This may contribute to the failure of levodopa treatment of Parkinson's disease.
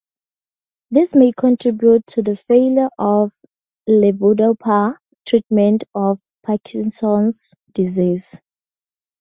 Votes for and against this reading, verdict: 2, 0, accepted